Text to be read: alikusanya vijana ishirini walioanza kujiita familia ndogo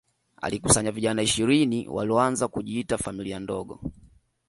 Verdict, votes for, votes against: accepted, 2, 0